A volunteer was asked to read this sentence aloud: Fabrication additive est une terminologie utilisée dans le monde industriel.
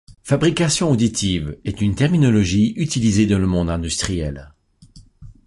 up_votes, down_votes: 1, 2